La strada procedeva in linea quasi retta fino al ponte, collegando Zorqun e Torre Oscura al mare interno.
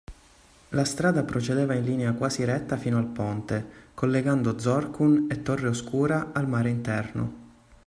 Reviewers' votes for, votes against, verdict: 2, 0, accepted